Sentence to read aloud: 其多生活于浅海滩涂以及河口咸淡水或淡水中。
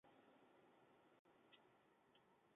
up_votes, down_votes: 3, 3